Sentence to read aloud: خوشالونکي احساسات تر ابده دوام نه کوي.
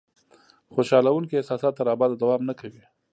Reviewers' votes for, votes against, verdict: 2, 0, accepted